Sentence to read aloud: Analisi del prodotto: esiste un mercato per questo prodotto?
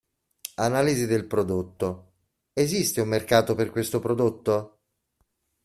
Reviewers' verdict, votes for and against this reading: accepted, 2, 0